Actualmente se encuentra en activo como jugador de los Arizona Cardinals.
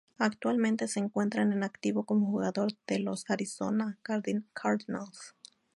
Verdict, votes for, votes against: accepted, 2, 0